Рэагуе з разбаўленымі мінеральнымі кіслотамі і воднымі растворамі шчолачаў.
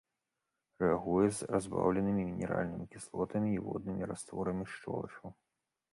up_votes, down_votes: 2, 0